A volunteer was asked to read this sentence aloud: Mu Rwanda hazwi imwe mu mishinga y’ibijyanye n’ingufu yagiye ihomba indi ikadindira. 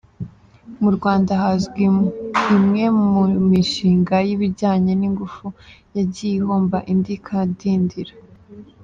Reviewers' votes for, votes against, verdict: 2, 0, accepted